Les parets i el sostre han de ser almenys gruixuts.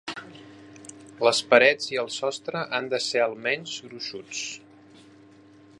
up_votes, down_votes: 3, 0